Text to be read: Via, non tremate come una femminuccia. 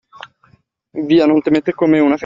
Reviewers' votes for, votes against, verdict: 0, 2, rejected